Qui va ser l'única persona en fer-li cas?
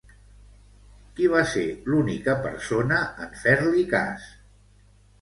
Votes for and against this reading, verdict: 0, 2, rejected